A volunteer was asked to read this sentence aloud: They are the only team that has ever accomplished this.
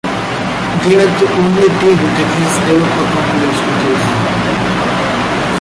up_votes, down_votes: 0, 2